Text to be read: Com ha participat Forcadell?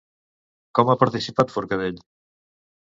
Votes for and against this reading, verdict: 2, 0, accepted